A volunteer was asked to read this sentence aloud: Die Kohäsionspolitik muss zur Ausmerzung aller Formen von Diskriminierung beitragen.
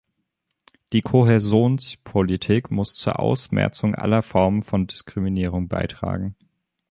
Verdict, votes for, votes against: rejected, 0, 2